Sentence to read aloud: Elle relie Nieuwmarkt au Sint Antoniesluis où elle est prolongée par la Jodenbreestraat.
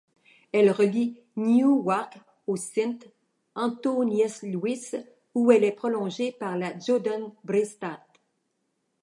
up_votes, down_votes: 1, 2